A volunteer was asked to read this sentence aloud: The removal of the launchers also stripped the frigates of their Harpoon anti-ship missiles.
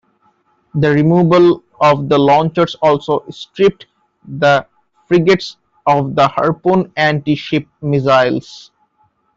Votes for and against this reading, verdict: 2, 1, accepted